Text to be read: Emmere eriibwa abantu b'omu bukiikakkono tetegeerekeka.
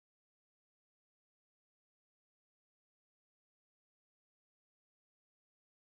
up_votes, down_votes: 0, 2